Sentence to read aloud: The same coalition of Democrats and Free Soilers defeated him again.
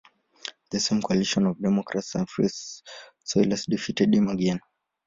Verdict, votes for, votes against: rejected, 1, 2